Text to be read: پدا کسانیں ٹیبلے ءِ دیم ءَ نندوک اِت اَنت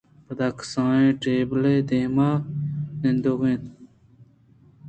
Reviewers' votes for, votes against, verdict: 2, 0, accepted